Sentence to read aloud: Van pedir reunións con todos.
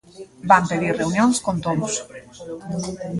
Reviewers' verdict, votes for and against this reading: rejected, 0, 2